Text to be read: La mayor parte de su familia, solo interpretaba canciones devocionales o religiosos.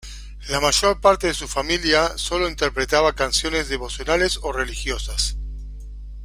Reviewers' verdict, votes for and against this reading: rejected, 0, 2